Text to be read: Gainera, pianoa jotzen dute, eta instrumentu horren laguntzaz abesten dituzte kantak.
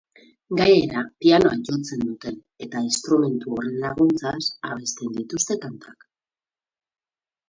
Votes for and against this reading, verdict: 2, 2, rejected